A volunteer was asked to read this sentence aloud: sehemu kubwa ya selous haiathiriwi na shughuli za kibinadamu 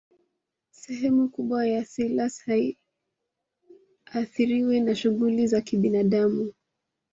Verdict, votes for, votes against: rejected, 0, 2